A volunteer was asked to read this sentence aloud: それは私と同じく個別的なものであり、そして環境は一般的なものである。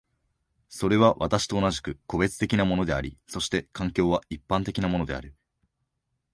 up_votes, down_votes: 2, 0